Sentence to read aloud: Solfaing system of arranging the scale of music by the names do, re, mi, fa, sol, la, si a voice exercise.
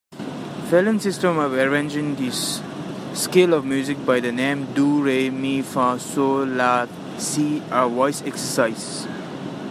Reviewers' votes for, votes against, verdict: 1, 2, rejected